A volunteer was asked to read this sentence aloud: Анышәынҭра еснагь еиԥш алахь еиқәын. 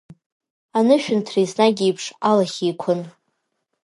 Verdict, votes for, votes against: accepted, 2, 1